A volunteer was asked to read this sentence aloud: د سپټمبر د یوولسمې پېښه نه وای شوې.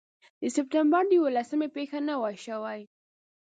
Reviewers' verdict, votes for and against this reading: rejected, 0, 2